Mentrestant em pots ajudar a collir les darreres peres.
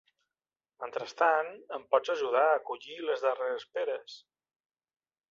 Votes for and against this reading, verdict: 2, 0, accepted